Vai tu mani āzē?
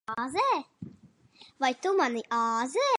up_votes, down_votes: 0, 2